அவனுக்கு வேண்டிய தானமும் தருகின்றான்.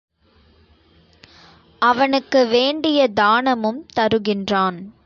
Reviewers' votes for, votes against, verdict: 4, 0, accepted